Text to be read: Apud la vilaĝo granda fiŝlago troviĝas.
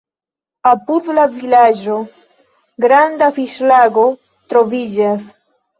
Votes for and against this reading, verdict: 0, 2, rejected